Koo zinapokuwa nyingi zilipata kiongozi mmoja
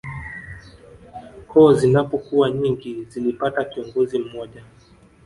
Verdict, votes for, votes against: rejected, 0, 2